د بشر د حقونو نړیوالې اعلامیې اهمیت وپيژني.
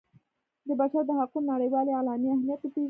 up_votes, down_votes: 2, 0